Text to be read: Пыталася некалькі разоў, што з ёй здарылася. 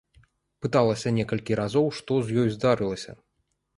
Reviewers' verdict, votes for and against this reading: accepted, 2, 0